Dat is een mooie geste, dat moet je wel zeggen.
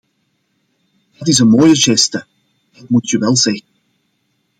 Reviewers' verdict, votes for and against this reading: rejected, 0, 2